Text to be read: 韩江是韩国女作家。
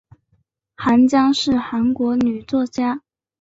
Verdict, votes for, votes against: accepted, 2, 0